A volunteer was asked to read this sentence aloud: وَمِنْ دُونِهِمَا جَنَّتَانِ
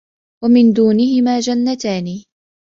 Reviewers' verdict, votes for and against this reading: accepted, 2, 0